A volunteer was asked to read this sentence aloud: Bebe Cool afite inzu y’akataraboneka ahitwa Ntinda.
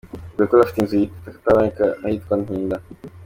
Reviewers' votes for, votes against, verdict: 2, 1, accepted